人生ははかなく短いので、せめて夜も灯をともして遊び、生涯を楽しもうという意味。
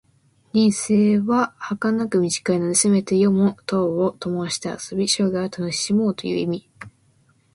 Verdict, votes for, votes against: accepted, 2, 0